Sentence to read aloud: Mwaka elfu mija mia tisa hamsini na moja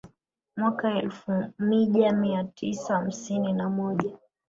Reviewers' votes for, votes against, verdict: 1, 2, rejected